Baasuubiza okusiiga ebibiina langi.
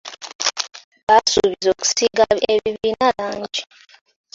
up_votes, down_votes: 0, 2